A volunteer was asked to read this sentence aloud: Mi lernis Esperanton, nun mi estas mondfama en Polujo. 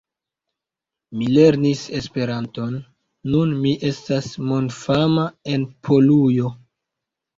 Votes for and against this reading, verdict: 2, 0, accepted